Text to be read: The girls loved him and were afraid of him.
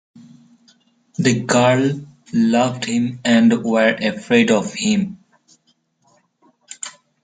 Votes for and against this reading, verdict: 0, 2, rejected